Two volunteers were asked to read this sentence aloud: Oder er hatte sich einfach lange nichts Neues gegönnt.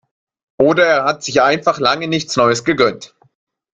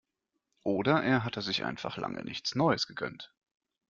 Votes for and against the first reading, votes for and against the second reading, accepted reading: 0, 2, 2, 0, second